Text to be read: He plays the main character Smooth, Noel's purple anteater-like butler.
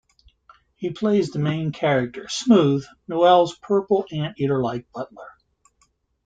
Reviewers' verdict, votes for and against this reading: accepted, 2, 0